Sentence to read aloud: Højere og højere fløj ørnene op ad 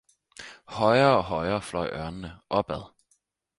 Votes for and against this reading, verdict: 4, 0, accepted